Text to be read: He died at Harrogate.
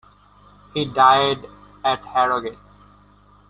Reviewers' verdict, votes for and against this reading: accepted, 2, 0